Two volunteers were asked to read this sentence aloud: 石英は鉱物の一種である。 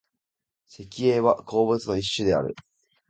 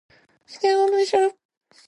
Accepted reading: first